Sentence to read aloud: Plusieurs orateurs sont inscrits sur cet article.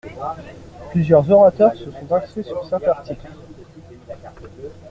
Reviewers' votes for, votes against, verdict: 0, 2, rejected